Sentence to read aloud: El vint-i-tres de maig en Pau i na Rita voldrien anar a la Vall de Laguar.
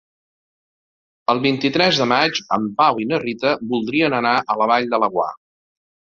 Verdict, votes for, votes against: accepted, 2, 0